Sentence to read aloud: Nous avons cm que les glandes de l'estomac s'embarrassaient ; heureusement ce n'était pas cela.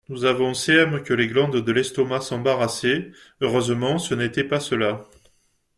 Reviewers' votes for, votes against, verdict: 2, 1, accepted